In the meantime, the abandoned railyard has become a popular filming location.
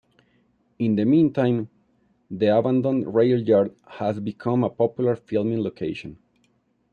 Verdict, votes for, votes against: accepted, 2, 0